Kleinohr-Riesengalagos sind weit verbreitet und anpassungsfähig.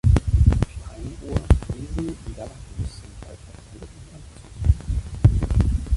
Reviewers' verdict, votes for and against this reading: rejected, 0, 2